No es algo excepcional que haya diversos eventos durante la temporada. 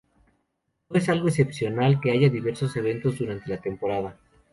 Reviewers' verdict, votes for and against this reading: accepted, 2, 0